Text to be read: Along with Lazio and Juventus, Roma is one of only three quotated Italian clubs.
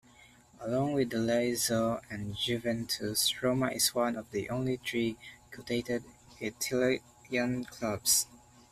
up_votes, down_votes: 1, 2